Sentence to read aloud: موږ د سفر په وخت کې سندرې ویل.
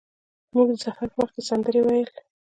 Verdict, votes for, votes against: accepted, 2, 0